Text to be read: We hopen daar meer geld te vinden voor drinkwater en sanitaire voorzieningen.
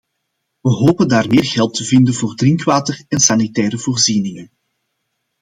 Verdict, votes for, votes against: accepted, 2, 0